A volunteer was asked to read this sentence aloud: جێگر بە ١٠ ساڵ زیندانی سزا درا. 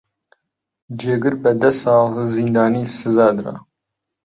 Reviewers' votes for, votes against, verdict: 0, 2, rejected